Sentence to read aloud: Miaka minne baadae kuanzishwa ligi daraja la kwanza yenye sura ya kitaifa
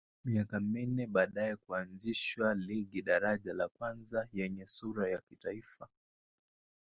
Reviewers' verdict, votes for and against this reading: accepted, 3, 0